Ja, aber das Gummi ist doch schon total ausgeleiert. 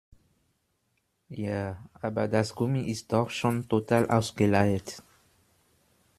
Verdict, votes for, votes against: accepted, 2, 0